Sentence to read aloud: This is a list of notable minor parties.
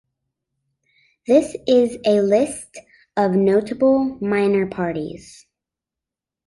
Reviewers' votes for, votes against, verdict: 2, 0, accepted